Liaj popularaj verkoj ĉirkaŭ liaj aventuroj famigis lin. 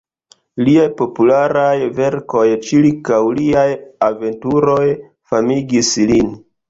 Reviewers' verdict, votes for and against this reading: accepted, 2, 1